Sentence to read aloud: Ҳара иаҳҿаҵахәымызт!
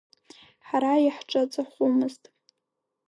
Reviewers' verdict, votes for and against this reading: accepted, 2, 0